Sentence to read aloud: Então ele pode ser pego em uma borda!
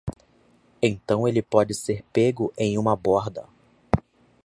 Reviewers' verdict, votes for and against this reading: accepted, 2, 0